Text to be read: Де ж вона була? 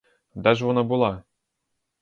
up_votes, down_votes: 2, 0